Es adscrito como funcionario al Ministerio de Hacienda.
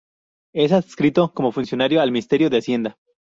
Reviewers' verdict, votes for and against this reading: rejected, 0, 2